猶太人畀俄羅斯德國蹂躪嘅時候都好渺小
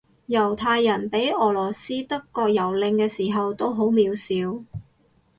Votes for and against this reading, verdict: 4, 0, accepted